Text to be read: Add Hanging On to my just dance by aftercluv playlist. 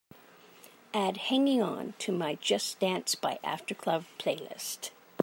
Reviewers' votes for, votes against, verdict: 2, 0, accepted